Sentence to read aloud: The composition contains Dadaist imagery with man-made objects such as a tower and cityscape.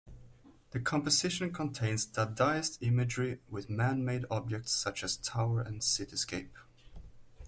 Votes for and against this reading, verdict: 2, 1, accepted